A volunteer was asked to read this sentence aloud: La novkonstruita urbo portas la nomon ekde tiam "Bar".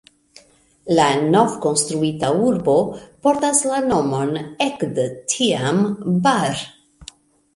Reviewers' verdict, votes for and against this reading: accepted, 2, 0